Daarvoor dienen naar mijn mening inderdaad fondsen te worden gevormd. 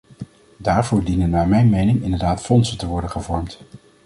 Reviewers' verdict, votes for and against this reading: accepted, 2, 0